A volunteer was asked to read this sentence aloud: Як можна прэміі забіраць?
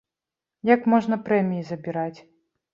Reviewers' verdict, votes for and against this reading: accepted, 2, 0